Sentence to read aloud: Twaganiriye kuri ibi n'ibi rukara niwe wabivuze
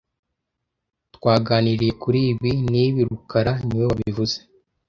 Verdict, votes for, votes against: accepted, 2, 0